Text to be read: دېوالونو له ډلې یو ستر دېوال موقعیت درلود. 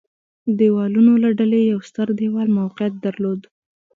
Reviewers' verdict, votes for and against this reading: rejected, 1, 2